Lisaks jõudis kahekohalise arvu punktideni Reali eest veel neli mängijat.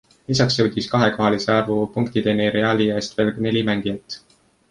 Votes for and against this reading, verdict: 2, 0, accepted